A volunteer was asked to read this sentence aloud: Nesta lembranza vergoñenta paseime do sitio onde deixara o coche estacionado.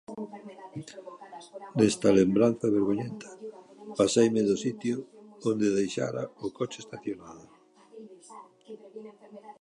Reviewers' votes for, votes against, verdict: 1, 2, rejected